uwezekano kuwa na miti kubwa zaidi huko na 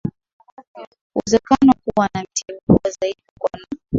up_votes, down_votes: 0, 2